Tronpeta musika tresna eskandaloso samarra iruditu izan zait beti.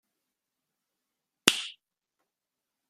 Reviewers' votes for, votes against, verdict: 0, 2, rejected